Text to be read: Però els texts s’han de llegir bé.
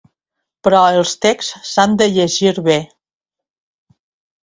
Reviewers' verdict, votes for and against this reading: accepted, 2, 0